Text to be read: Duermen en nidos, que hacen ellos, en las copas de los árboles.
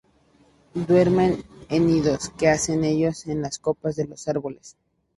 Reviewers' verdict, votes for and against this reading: accepted, 2, 0